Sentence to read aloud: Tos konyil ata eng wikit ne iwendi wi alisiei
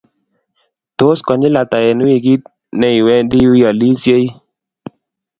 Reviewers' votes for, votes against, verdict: 2, 0, accepted